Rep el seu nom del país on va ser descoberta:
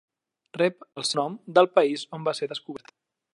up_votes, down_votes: 0, 2